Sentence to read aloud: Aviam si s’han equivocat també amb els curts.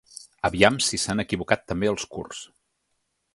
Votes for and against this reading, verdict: 1, 2, rejected